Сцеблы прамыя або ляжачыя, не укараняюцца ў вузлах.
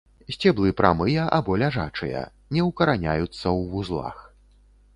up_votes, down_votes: 2, 0